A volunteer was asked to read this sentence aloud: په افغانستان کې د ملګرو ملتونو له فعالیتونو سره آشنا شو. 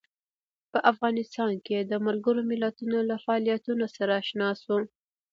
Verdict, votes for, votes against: rejected, 0, 2